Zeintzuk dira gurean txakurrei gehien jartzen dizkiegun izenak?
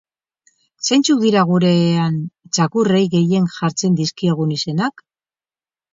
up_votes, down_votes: 4, 2